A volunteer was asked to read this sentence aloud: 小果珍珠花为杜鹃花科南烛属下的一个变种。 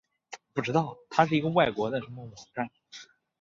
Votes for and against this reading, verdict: 0, 2, rejected